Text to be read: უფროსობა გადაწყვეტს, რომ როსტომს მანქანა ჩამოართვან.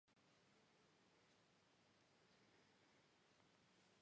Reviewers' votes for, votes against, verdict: 0, 2, rejected